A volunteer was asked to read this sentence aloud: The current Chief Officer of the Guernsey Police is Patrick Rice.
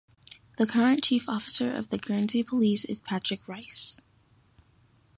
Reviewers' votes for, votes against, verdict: 2, 0, accepted